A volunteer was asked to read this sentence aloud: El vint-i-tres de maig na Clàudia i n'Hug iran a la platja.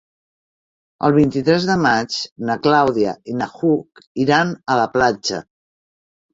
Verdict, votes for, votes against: rejected, 0, 2